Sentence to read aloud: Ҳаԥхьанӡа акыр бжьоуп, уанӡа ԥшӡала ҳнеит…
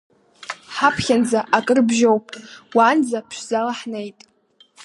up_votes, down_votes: 2, 0